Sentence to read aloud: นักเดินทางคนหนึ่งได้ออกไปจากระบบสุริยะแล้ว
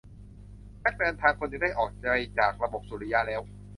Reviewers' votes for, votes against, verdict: 1, 2, rejected